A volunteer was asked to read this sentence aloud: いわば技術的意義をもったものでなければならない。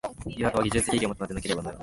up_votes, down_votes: 0, 2